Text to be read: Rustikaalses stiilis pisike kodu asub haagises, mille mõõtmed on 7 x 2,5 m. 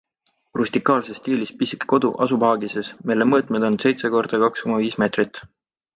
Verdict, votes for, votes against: rejected, 0, 2